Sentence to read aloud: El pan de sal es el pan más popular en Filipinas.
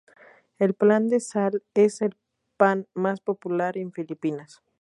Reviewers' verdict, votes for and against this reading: accepted, 2, 0